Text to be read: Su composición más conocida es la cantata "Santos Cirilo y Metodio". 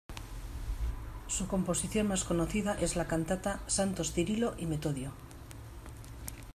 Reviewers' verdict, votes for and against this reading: accepted, 2, 0